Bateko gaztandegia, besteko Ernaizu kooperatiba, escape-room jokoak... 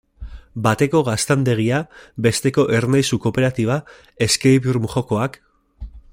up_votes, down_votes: 2, 0